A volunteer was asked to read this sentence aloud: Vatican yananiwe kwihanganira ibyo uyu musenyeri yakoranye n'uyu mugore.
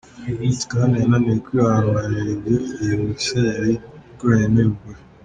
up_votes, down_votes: 1, 2